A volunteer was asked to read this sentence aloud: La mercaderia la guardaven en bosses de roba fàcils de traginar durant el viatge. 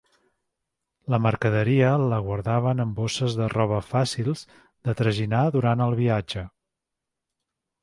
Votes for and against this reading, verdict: 2, 0, accepted